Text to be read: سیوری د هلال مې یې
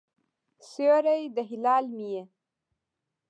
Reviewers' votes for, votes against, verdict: 2, 1, accepted